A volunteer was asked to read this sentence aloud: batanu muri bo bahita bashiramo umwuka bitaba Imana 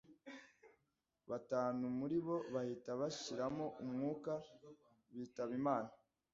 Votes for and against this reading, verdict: 2, 0, accepted